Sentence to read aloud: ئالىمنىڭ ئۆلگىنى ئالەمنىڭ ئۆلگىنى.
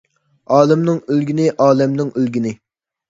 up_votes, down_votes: 2, 0